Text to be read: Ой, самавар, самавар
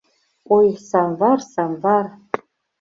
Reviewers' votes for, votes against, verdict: 0, 2, rejected